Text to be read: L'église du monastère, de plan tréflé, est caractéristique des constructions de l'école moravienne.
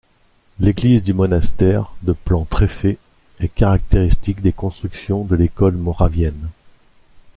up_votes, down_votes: 1, 2